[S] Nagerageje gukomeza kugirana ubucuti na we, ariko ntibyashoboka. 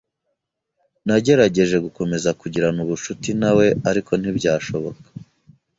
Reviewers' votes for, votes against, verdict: 2, 0, accepted